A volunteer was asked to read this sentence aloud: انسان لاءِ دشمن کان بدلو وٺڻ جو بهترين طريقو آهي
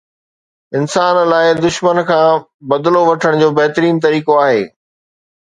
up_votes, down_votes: 2, 0